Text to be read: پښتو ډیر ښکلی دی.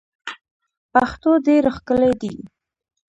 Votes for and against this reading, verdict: 0, 2, rejected